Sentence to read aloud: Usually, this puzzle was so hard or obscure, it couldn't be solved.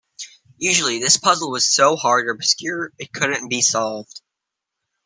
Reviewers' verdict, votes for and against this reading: accepted, 2, 0